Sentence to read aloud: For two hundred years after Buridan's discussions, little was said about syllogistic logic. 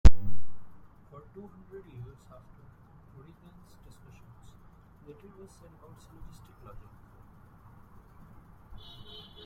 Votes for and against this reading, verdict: 0, 2, rejected